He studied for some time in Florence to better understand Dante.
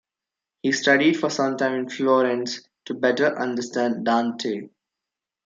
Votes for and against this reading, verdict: 2, 0, accepted